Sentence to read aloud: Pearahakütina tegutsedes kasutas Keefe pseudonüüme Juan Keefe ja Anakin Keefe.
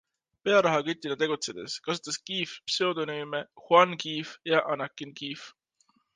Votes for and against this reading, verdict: 2, 0, accepted